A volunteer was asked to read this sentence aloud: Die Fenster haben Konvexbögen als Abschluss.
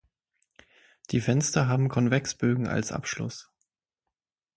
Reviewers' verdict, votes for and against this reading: accepted, 6, 0